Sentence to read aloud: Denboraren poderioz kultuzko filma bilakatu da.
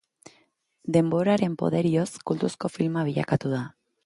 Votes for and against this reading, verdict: 2, 0, accepted